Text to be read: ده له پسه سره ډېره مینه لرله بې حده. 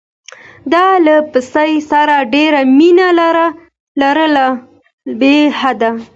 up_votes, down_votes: 2, 0